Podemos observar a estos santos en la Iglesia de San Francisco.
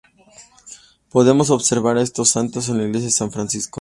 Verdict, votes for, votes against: accepted, 3, 0